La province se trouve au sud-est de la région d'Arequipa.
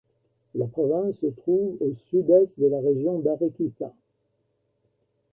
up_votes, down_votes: 2, 0